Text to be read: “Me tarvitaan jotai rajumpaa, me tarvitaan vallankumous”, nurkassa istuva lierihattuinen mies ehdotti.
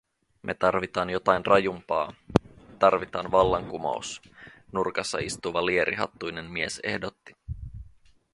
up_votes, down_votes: 0, 2